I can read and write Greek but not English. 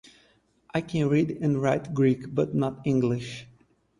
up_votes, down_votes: 4, 0